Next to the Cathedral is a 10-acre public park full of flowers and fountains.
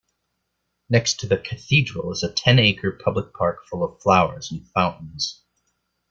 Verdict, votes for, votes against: rejected, 0, 2